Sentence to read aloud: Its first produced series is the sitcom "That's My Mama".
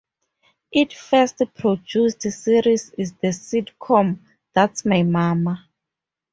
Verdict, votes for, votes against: rejected, 2, 2